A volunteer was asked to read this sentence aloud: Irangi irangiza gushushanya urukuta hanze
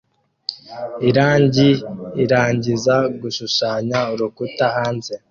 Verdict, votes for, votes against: accepted, 2, 0